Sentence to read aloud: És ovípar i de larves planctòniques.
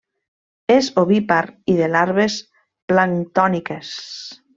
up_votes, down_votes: 2, 0